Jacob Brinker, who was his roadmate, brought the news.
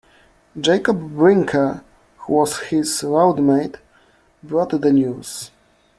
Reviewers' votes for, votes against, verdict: 1, 2, rejected